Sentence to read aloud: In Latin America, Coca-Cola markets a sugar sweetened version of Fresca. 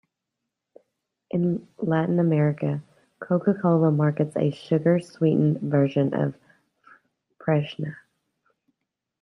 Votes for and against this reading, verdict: 0, 2, rejected